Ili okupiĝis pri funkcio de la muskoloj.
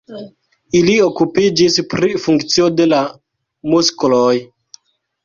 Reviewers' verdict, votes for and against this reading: rejected, 1, 2